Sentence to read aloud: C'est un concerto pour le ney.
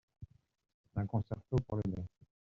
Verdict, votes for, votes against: rejected, 0, 2